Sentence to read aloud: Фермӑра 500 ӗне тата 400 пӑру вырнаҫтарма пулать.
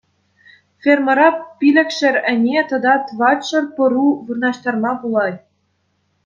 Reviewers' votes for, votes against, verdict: 0, 2, rejected